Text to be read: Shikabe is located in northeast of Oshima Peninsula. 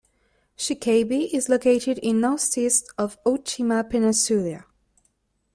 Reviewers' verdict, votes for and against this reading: accepted, 2, 0